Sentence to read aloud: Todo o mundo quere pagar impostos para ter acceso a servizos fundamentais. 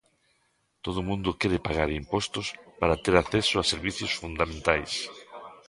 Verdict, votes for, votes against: rejected, 1, 2